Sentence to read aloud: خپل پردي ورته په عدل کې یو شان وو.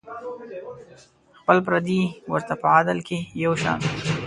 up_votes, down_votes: 0, 2